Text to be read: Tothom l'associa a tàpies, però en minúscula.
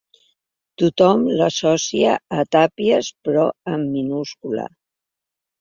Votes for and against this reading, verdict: 3, 0, accepted